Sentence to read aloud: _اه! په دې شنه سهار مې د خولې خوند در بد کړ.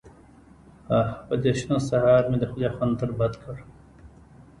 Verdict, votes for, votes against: rejected, 1, 2